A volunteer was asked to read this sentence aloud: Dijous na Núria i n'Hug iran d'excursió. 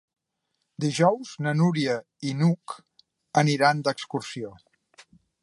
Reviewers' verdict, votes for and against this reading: rejected, 1, 2